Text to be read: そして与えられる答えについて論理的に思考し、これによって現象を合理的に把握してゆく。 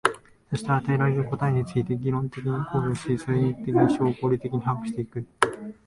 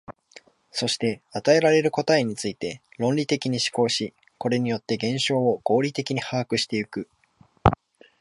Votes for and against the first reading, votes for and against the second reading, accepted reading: 1, 2, 2, 0, second